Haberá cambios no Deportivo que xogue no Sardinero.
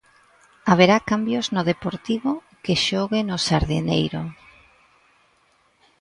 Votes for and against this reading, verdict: 0, 2, rejected